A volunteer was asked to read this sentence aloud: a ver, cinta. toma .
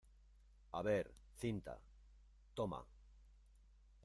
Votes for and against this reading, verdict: 2, 0, accepted